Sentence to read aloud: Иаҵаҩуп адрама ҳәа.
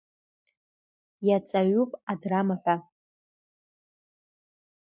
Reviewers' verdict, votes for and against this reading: accepted, 2, 1